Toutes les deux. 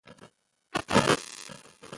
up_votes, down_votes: 0, 2